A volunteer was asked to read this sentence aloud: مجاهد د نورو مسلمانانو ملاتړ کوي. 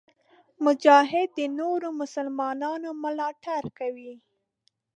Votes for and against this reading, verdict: 2, 0, accepted